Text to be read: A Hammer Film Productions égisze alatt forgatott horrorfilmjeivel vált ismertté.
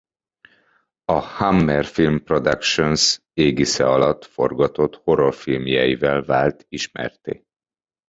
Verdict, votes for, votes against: accepted, 2, 0